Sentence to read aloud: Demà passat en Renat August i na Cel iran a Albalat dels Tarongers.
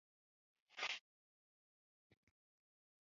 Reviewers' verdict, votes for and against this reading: rejected, 0, 2